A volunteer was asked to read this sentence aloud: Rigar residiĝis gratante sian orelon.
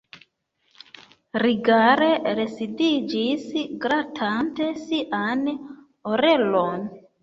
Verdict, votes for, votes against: rejected, 1, 2